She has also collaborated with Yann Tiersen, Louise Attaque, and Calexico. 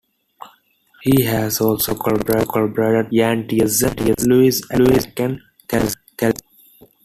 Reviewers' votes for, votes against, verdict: 0, 2, rejected